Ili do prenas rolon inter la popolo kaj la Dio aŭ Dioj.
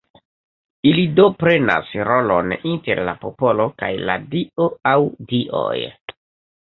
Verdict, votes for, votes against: accepted, 2, 0